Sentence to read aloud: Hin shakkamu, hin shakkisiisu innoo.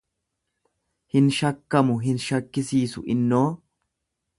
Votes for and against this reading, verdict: 2, 0, accepted